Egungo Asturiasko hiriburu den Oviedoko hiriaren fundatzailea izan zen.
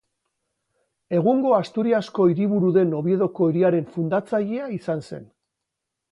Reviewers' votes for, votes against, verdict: 2, 0, accepted